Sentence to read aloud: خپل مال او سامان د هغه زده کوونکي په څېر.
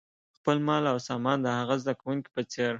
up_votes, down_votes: 0, 2